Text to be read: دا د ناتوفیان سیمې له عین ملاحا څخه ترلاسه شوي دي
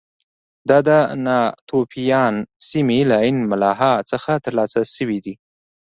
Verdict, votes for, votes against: accepted, 2, 0